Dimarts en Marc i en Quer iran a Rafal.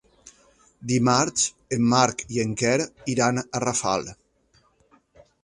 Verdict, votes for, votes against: accepted, 3, 0